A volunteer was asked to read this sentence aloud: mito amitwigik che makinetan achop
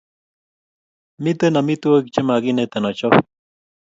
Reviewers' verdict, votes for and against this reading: accepted, 2, 0